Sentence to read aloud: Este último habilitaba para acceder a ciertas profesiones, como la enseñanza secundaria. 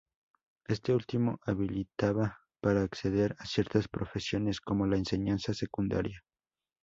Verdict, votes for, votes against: accepted, 2, 0